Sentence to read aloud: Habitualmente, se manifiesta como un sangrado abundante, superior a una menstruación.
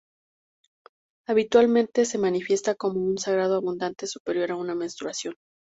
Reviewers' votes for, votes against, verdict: 0, 2, rejected